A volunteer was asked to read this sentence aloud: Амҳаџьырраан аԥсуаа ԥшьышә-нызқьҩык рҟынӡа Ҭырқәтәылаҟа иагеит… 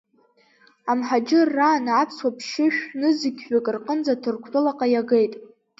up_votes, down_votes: 2, 0